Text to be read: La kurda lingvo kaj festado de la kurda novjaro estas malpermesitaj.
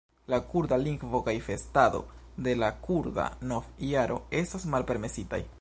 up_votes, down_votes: 1, 2